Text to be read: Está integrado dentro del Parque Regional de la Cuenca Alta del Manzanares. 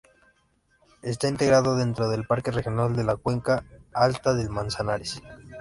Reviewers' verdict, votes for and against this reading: accepted, 2, 0